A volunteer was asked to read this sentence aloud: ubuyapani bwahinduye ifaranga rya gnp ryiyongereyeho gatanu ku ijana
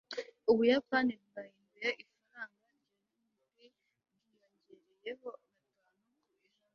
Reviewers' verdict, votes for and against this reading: rejected, 1, 2